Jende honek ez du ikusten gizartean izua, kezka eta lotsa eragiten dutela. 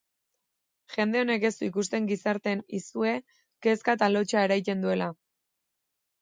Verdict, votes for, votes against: rejected, 0, 2